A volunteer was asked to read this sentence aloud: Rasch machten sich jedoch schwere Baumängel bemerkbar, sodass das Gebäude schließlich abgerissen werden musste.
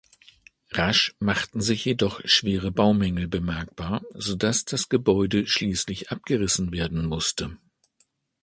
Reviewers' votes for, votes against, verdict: 2, 0, accepted